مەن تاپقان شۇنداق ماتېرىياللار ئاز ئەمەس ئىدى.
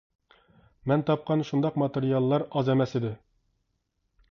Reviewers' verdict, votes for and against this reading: accepted, 2, 0